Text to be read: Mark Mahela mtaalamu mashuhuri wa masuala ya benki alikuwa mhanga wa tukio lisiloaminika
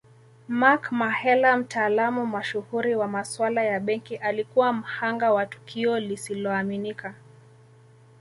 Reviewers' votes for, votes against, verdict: 0, 2, rejected